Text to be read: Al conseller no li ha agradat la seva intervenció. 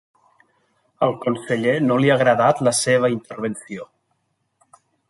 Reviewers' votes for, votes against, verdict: 3, 1, accepted